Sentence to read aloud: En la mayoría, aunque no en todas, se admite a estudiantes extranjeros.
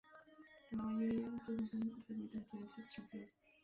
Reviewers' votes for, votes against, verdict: 0, 2, rejected